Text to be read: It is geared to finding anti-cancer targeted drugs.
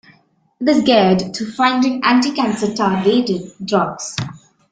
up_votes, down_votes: 0, 2